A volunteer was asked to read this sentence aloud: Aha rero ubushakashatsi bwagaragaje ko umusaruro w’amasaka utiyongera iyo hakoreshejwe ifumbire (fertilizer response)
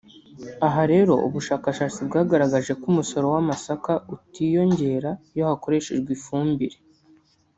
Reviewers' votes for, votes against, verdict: 0, 2, rejected